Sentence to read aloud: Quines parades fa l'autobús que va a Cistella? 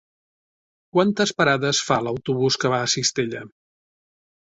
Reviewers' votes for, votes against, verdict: 0, 2, rejected